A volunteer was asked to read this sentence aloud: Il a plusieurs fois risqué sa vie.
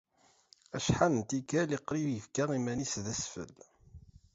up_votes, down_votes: 1, 2